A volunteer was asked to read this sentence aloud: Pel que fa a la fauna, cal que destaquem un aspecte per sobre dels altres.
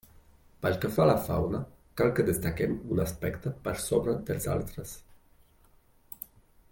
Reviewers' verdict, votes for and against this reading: accepted, 2, 0